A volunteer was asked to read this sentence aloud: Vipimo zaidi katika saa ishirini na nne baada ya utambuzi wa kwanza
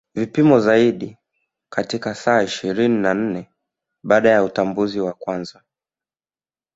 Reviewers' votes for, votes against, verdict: 2, 0, accepted